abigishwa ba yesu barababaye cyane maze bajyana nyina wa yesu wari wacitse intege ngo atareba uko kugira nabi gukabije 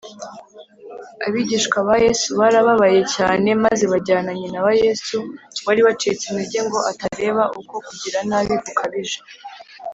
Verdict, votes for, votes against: accepted, 3, 0